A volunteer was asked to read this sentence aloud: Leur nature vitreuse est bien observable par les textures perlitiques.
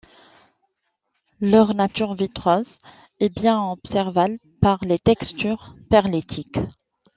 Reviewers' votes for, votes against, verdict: 0, 2, rejected